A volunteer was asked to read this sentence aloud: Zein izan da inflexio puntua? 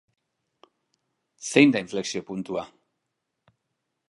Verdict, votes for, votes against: rejected, 0, 2